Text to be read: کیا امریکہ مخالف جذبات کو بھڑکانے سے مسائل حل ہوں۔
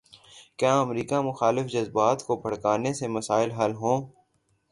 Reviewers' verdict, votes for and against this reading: accepted, 3, 0